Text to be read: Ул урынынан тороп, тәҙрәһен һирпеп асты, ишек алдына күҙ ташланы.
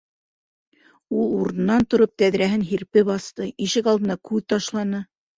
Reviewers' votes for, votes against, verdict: 2, 0, accepted